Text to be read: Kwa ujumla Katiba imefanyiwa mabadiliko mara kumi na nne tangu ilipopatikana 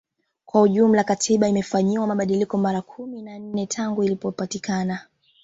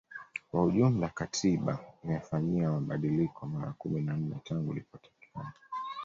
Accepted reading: first